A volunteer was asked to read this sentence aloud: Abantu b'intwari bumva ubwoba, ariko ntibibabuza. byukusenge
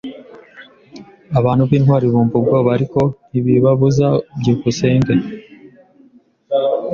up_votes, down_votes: 2, 0